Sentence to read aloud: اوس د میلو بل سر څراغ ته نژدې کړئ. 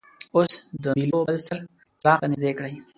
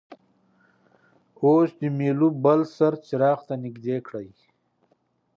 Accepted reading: second